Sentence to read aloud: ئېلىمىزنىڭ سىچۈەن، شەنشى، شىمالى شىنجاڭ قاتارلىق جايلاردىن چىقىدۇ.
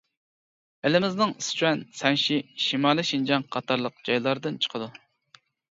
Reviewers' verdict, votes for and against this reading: rejected, 0, 2